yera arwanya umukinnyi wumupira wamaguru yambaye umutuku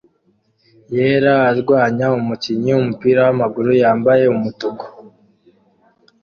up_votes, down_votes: 2, 1